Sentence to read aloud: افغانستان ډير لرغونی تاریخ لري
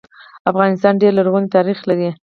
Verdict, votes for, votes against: rejected, 2, 2